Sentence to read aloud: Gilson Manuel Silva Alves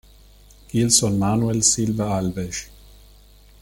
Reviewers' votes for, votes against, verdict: 2, 3, rejected